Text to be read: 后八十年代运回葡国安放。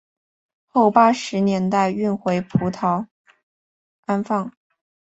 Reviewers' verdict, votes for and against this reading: rejected, 1, 2